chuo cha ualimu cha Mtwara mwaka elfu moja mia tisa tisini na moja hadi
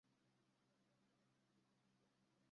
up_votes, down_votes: 0, 2